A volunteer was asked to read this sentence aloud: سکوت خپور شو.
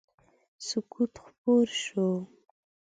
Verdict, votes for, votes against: accepted, 2, 0